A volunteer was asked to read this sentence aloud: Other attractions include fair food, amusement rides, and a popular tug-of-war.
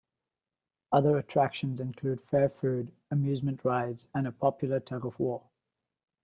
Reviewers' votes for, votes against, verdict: 2, 0, accepted